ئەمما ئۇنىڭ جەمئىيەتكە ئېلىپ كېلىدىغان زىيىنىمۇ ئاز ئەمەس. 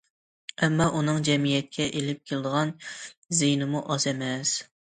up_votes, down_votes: 2, 0